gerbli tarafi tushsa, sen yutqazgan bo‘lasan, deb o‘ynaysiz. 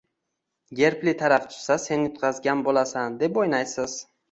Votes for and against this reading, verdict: 2, 0, accepted